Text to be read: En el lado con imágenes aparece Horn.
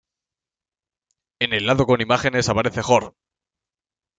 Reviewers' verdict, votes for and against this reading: accepted, 2, 0